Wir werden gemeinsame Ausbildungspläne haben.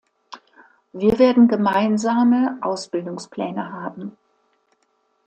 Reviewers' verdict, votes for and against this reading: accepted, 2, 0